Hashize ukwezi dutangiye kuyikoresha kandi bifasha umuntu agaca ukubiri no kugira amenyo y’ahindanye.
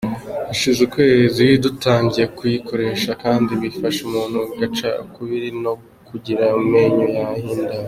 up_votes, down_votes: 2, 0